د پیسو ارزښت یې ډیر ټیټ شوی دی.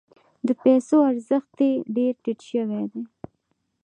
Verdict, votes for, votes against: accepted, 2, 0